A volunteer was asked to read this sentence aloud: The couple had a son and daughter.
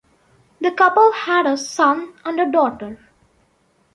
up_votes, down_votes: 1, 2